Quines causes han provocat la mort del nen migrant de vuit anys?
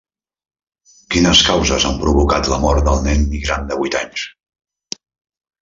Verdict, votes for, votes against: rejected, 0, 2